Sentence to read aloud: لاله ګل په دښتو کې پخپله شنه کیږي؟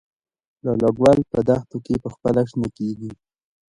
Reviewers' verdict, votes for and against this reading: rejected, 0, 2